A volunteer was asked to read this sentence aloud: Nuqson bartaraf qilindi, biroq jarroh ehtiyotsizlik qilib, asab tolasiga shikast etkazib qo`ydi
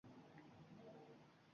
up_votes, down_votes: 0, 2